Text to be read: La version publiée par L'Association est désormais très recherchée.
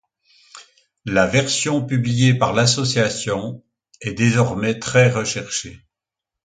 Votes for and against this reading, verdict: 2, 0, accepted